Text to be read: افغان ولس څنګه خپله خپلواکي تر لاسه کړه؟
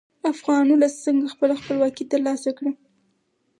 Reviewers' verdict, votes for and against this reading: accepted, 4, 0